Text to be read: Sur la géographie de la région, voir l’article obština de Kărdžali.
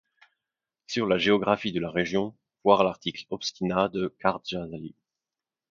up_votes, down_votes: 2, 1